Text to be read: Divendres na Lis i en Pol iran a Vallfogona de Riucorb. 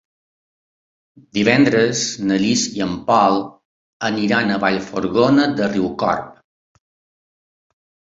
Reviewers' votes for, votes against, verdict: 1, 3, rejected